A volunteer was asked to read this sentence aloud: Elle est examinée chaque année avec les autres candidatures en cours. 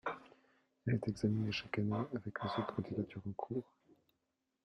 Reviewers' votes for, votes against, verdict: 0, 2, rejected